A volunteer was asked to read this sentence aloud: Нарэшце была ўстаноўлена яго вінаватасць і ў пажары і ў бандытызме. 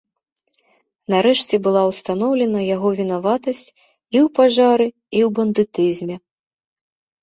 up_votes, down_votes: 2, 0